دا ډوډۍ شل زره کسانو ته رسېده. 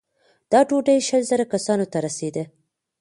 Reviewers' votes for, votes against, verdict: 2, 1, accepted